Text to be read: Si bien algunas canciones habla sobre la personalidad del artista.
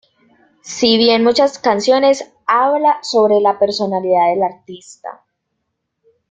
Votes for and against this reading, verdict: 0, 2, rejected